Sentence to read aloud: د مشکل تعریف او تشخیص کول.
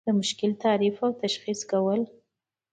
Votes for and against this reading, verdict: 2, 0, accepted